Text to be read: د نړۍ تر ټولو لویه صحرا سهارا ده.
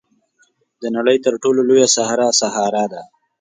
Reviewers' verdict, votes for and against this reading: accepted, 2, 0